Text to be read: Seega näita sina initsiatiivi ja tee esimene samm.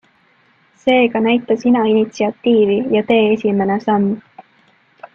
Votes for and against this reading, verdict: 2, 0, accepted